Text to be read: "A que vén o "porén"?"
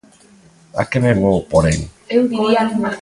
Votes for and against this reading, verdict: 0, 2, rejected